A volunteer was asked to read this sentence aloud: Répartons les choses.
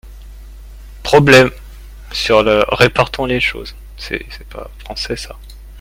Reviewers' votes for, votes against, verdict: 0, 2, rejected